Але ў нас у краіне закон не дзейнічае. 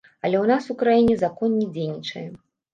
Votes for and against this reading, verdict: 2, 0, accepted